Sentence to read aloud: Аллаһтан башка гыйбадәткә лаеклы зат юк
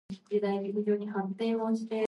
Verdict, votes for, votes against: rejected, 0, 2